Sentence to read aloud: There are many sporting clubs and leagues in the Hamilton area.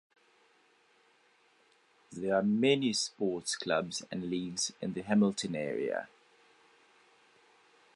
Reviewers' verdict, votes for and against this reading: rejected, 1, 2